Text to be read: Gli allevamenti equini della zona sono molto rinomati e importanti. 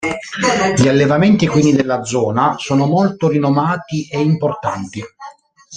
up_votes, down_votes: 1, 2